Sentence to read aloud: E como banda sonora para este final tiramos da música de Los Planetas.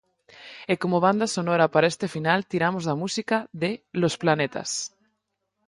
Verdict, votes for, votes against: rejected, 2, 4